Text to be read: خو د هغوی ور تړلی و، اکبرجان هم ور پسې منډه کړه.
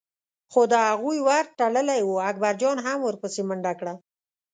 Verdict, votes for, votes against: accepted, 2, 0